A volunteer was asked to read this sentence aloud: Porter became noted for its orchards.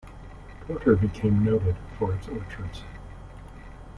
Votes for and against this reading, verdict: 2, 1, accepted